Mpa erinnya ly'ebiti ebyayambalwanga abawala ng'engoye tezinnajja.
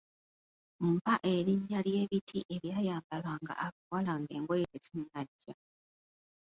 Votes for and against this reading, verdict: 1, 2, rejected